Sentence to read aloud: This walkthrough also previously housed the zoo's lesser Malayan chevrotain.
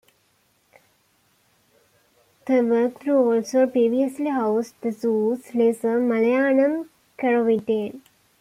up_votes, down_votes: 1, 2